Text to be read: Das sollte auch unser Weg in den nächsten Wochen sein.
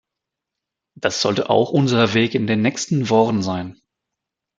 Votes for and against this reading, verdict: 0, 2, rejected